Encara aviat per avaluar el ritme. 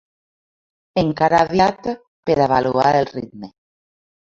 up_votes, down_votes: 0, 2